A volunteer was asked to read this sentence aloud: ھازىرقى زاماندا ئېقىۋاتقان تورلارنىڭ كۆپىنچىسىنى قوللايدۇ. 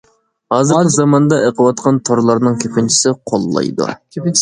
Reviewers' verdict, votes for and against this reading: rejected, 1, 2